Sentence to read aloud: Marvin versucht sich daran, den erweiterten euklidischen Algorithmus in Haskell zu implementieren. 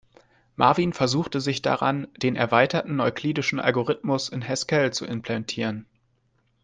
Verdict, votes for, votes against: rejected, 0, 2